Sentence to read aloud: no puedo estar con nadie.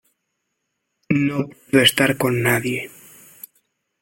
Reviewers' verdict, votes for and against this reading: rejected, 1, 2